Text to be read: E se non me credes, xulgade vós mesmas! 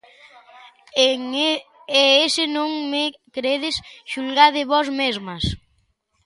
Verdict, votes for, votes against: rejected, 0, 2